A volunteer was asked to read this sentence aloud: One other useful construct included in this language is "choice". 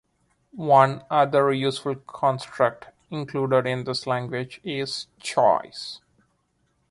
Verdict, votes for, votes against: accepted, 2, 0